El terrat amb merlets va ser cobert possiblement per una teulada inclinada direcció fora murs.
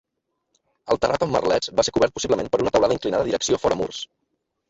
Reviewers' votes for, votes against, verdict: 2, 1, accepted